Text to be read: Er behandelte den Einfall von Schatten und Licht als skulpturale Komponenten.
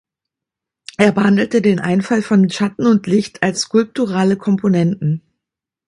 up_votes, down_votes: 2, 0